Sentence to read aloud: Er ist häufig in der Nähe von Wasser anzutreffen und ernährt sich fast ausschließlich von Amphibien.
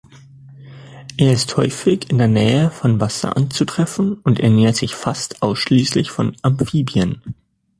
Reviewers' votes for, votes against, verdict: 2, 0, accepted